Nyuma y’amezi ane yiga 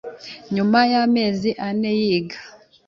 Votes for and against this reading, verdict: 2, 0, accepted